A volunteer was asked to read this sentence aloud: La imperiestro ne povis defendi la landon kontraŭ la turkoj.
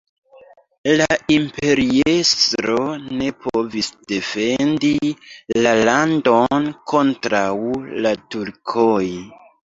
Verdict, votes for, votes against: rejected, 1, 2